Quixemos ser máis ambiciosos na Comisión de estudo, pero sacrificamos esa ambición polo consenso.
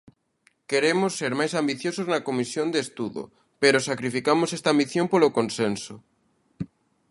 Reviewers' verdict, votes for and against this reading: rejected, 0, 2